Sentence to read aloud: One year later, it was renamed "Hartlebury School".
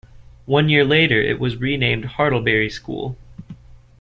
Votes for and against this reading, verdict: 2, 0, accepted